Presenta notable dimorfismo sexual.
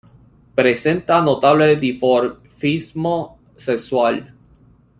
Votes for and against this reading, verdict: 0, 2, rejected